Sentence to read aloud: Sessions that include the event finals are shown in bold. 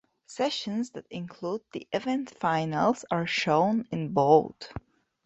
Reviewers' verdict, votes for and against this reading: accepted, 2, 1